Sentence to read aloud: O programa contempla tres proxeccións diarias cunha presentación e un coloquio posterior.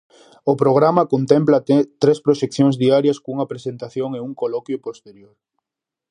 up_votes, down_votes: 0, 2